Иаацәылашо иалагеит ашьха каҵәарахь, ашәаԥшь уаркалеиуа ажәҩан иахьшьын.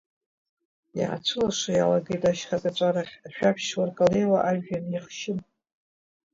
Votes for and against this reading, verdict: 0, 2, rejected